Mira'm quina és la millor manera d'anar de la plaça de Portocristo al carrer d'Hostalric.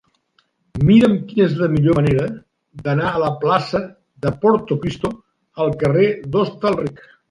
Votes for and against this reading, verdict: 1, 2, rejected